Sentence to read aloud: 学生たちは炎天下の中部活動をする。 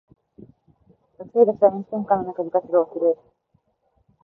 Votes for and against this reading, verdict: 0, 4, rejected